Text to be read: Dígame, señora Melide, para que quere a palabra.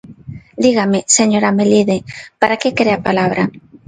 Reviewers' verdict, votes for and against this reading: accepted, 2, 0